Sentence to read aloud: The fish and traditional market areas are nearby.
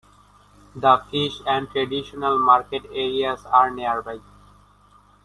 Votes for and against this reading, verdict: 1, 2, rejected